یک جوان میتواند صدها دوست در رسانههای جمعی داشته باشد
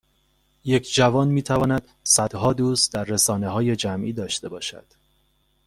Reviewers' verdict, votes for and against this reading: accepted, 2, 0